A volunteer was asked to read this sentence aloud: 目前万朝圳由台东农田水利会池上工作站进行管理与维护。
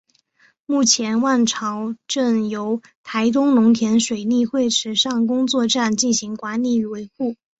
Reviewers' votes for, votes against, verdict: 3, 0, accepted